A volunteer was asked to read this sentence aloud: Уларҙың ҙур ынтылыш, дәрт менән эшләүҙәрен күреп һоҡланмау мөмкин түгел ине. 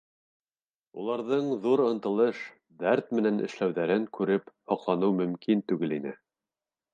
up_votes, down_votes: 0, 2